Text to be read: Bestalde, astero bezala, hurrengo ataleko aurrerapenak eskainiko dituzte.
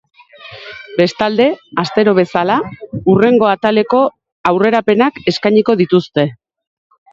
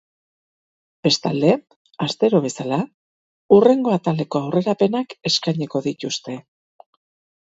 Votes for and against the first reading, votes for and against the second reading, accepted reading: 4, 2, 2, 2, first